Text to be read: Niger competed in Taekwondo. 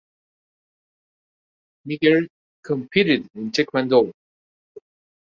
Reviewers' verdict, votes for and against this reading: accepted, 2, 1